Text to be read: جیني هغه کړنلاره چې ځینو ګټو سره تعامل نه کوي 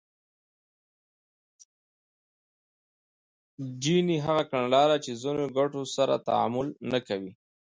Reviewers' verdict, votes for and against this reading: rejected, 0, 2